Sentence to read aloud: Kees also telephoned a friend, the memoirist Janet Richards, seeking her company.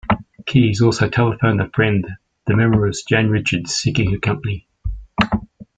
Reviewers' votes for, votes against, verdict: 1, 2, rejected